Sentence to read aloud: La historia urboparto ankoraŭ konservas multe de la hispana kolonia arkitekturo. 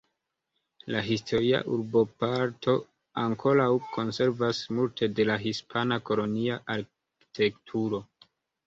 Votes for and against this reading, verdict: 1, 2, rejected